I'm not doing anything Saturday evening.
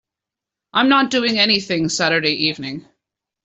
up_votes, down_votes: 2, 0